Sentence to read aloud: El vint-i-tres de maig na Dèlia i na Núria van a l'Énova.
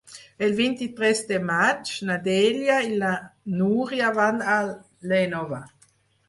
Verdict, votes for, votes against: rejected, 2, 4